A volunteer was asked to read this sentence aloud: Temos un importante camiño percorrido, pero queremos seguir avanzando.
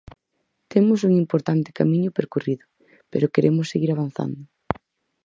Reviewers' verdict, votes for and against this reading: accepted, 4, 0